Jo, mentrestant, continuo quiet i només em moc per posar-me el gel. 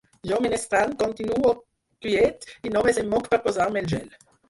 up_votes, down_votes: 2, 4